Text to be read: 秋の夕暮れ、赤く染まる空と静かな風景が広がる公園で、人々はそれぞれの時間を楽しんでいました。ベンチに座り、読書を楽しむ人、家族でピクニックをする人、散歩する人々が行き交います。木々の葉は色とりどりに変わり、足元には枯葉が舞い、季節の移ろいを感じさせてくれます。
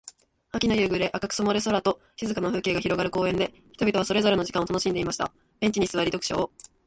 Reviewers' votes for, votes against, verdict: 0, 2, rejected